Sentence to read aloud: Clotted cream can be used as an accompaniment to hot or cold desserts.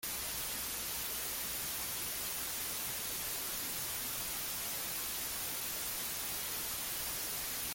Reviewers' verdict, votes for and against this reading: rejected, 0, 3